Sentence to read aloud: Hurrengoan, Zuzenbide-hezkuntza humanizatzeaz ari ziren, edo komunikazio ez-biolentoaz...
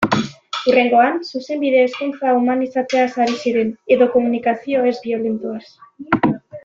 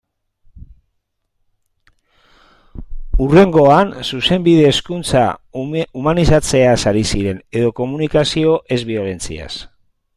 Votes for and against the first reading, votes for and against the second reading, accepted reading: 2, 0, 0, 2, first